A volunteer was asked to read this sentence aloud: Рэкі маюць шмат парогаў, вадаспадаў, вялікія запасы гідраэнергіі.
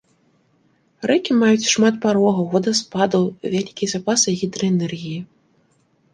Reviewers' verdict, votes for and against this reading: accepted, 2, 0